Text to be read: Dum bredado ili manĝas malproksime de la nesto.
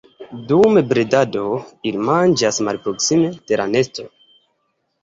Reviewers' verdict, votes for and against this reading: rejected, 1, 2